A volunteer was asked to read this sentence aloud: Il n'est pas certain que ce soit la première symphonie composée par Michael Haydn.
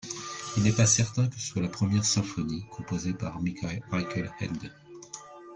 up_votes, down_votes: 0, 2